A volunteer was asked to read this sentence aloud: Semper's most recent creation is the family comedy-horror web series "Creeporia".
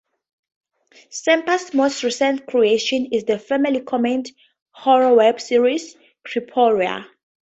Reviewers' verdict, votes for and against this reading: rejected, 0, 2